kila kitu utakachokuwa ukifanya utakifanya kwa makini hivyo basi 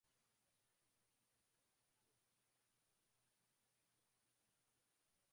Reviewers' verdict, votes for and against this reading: rejected, 0, 2